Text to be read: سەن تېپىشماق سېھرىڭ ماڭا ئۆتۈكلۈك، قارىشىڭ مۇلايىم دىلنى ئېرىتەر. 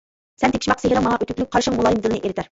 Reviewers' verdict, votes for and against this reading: rejected, 0, 2